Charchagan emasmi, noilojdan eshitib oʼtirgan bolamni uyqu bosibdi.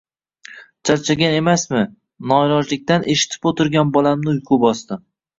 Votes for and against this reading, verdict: 1, 2, rejected